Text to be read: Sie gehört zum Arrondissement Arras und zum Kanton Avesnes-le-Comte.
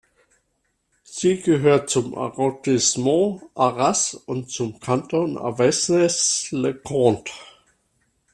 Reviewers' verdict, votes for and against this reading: rejected, 0, 2